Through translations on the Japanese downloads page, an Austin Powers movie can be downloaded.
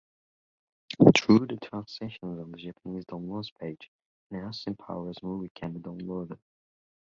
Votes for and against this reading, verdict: 2, 1, accepted